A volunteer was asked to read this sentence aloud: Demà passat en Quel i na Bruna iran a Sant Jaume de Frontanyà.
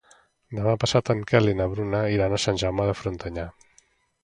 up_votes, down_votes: 2, 0